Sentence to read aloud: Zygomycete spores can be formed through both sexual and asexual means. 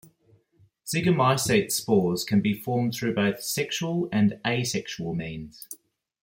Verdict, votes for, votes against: accepted, 2, 0